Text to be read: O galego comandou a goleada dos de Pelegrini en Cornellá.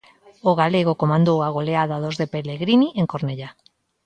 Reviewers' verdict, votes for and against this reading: accepted, 2, 0